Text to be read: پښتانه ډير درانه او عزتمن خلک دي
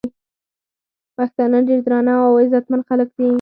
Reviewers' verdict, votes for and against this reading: rejected, 2, 4